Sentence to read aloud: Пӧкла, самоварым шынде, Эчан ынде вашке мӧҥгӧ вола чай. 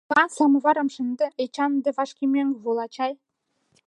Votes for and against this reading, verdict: 0, 2, rejected